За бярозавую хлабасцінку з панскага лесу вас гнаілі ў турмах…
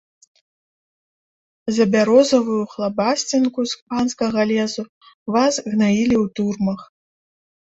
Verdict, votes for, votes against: rejected, 1, 2